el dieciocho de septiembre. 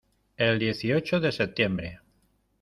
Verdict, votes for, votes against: accepted, 2, 0